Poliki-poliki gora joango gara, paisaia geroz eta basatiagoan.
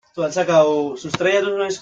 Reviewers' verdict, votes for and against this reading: rejected, 0, 2